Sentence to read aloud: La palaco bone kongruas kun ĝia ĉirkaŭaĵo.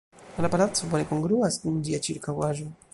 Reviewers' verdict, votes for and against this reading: rejected, 1, 2